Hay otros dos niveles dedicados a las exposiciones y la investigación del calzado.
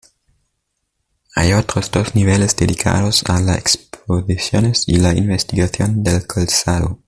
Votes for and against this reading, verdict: 2, 1, accepted